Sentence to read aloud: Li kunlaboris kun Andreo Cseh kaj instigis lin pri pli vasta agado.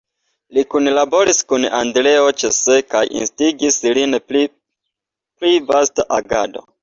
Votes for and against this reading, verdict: 2, 0, accepted